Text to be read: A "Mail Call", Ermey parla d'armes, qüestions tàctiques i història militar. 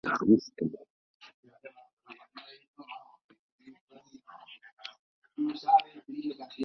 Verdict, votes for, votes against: rejected, 0, 2